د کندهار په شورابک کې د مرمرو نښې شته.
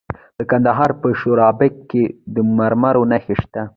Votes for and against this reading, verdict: 1, 2, rejected